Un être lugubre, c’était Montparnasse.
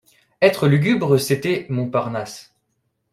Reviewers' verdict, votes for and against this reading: rejected, 1, 2